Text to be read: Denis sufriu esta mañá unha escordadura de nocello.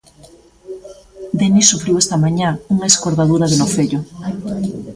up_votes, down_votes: 2, 0